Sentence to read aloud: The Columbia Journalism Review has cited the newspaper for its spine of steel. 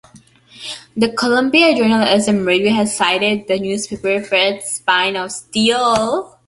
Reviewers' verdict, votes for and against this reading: rejected, 1, 2